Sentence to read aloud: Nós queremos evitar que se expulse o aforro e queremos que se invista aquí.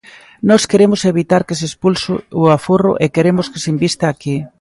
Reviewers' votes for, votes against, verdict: 1, 2, rejected